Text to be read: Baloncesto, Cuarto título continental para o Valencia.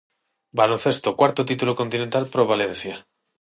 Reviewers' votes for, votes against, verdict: 6, 0, accepted